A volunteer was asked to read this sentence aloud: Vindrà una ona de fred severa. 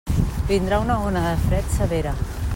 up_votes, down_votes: 2, 0